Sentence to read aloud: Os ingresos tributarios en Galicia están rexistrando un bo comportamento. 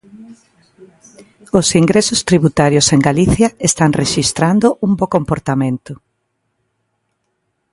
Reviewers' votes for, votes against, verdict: 1, 2, rejected